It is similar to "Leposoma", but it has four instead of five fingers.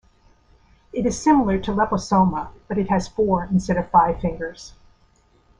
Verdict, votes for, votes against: accepted, 2, 0